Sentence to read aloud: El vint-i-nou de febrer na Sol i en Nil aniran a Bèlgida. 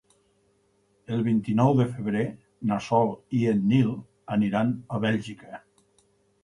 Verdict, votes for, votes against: rejected, 0, 6